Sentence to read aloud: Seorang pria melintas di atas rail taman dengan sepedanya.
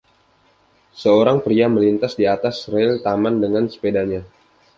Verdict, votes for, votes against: accepted, 2, 0